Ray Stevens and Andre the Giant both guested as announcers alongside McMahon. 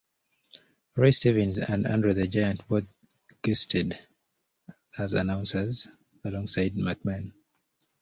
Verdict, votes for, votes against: rejected, 1, 2